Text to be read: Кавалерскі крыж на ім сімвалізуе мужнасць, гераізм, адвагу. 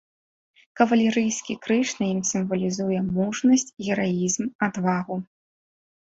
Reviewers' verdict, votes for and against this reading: rejected, 2, 3